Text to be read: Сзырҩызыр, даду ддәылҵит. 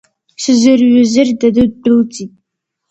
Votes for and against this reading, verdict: 2, 1, accepted